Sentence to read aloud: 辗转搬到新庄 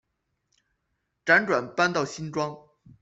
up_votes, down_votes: 2, 0